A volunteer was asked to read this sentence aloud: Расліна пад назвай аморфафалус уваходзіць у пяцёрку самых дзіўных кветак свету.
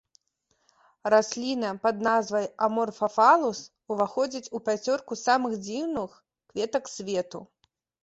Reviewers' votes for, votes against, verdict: 0, 2, rejected